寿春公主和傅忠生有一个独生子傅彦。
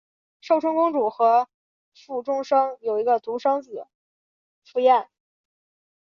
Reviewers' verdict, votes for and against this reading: accepted, 2, 0